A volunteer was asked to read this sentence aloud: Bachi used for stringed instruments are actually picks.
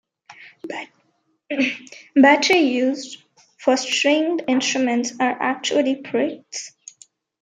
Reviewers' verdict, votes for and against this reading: rejected, 0, 2